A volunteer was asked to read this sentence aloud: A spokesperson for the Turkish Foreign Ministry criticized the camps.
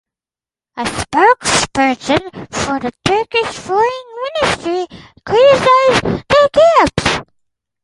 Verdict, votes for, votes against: rejected, 0, 2